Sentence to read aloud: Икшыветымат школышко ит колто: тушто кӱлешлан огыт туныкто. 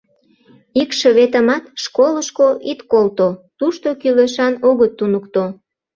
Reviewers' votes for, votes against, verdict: 0, 2, rejected